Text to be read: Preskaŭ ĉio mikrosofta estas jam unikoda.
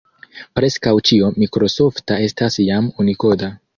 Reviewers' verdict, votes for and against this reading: accepted, 3, 0